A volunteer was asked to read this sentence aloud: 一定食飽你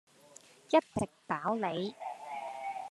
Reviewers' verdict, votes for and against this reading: rejected, 0, 2